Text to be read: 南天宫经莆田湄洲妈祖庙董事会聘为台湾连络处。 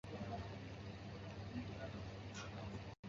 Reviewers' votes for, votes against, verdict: 0, 2, rejected